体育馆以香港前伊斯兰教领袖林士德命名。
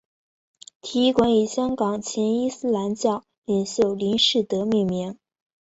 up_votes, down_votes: 3, 0